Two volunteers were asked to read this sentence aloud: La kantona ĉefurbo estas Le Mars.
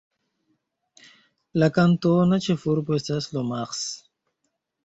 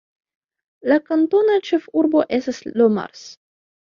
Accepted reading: second